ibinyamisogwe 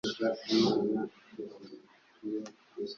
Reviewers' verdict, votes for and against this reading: rejected, 0, 2